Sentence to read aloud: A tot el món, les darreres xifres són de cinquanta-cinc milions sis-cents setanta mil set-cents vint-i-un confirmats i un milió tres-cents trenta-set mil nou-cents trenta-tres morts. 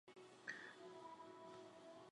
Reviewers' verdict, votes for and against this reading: rejected, 0, 4